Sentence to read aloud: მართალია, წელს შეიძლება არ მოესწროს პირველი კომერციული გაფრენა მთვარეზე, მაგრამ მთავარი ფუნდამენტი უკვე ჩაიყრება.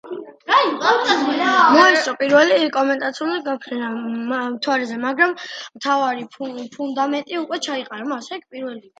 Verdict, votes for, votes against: rejected, 0, 2